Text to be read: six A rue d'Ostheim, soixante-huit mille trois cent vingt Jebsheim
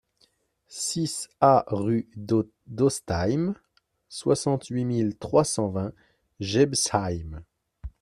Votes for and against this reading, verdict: 0, 2, rejected